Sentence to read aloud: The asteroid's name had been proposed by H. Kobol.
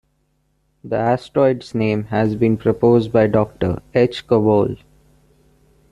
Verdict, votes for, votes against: rejected, 1, 2